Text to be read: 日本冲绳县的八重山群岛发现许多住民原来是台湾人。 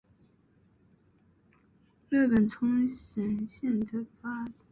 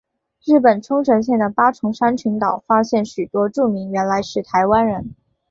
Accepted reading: second